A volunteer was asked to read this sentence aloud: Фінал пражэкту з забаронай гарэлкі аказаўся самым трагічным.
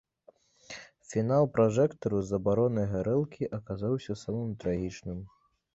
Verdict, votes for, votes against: rejected, 0, 2